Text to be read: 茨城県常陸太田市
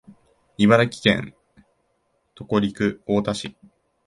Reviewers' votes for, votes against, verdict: 1, 4, rejected